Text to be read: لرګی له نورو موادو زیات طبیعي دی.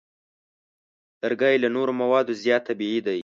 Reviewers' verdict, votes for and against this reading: accepted, 2, 0